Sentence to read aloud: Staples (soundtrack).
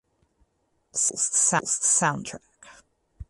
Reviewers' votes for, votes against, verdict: 0, 4, rejected